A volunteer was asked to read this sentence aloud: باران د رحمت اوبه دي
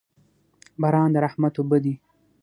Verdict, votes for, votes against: accepted, 6, 0